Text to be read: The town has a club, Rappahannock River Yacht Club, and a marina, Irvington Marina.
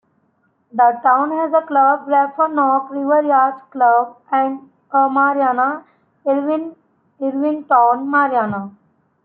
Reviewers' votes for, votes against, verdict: 0, 2, rejected